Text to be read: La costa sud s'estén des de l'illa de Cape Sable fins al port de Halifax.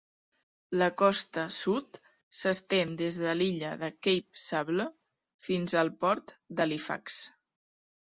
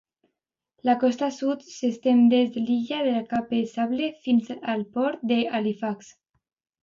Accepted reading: second